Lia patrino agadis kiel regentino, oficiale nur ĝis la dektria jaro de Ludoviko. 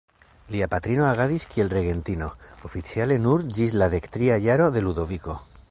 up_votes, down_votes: 2, 0